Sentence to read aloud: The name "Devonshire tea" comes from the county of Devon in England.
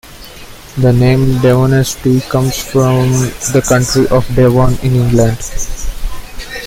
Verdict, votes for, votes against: rejected, 1, 2